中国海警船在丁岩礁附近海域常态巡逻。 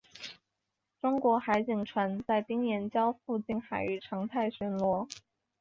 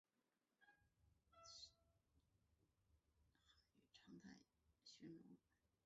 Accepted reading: first